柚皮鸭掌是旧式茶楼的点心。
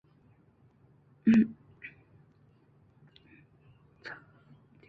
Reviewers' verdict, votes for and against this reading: rejected, 0, 2